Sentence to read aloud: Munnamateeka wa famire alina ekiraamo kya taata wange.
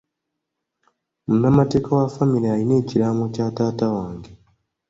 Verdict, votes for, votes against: accepted, 2, 0